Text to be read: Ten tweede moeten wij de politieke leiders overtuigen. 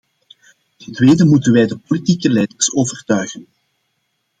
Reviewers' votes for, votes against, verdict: 2, 0, accepted